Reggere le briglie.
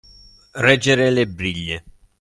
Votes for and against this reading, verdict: 2, 0, accepted